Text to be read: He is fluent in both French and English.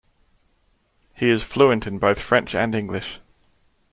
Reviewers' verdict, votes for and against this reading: accepted, 2, 0